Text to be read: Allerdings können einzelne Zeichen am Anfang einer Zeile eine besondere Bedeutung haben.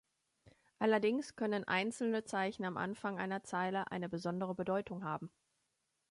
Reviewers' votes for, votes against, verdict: 2, 0, accepted